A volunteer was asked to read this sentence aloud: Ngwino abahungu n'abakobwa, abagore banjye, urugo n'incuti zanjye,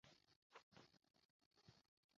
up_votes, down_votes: 0, 2